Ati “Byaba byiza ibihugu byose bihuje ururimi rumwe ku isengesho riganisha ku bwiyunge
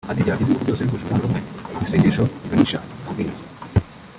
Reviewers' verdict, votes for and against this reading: rejected, 1, 2